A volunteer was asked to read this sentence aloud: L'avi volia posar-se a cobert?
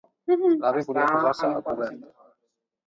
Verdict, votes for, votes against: rejected, 0, 2